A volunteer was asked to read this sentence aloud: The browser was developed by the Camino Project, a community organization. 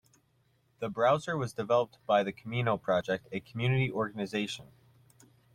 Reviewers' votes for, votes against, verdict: 2, 0, accepted